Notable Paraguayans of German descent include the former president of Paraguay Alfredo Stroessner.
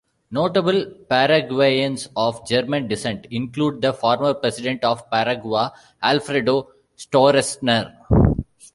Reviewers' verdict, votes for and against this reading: rejected, 1, 2